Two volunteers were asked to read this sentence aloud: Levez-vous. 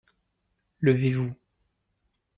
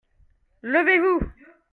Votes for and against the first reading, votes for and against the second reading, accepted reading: 2, 0, 1, 2, first